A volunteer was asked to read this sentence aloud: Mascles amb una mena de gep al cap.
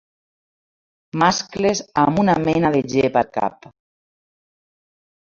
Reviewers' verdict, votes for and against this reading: accepted, 2, 0